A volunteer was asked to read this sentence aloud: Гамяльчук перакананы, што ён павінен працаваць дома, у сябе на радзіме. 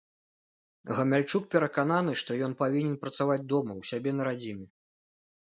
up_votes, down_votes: 2, 0